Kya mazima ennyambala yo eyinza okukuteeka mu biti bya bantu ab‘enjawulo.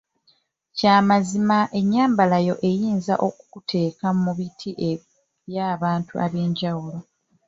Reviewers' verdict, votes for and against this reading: rejected, 2, 4